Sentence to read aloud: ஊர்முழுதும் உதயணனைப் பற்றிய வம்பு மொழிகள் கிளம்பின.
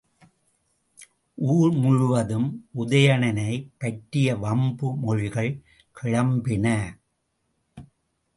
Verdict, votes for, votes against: accepted, 2, 1